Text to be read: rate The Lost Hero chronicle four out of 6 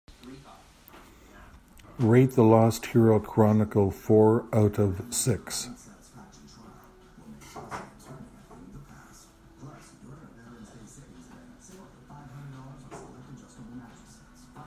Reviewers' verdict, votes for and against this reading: rejected, 0, 2